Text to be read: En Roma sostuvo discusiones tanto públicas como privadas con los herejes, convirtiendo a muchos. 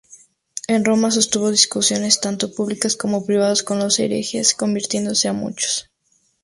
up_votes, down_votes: 0, 2